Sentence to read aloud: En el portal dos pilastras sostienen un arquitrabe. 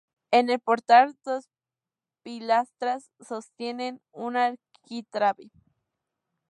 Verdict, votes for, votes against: accepted, 2, 0